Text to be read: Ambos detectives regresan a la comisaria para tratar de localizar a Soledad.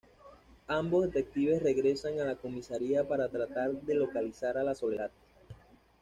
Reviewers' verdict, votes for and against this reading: rejected, 0, 2